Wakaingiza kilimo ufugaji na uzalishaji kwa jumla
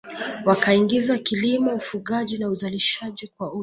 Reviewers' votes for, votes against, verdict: 1, 2, rejected